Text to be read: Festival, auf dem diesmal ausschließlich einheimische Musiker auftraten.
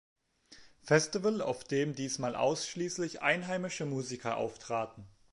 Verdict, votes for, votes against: accepted, 2, 0